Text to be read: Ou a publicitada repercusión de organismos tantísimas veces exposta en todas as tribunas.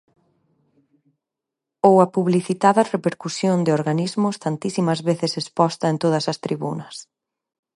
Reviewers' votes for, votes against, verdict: 4, 0, accepted